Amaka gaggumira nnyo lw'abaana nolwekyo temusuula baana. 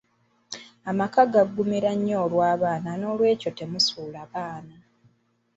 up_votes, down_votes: 1, 2